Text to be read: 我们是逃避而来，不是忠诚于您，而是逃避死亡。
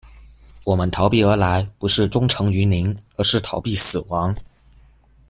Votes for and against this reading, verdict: 0, 2, rejected